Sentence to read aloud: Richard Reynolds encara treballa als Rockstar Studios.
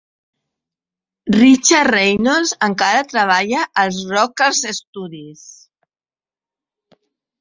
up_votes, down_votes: 0, 3